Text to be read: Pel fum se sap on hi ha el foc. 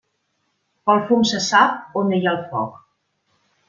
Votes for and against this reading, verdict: 1, 2, rejected